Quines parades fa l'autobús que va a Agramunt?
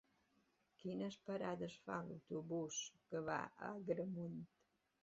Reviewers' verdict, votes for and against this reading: rejected, 0, 2